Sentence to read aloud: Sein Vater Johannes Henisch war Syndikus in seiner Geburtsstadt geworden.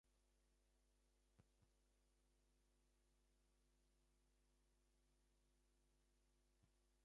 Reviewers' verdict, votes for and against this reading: rejected, 0, 2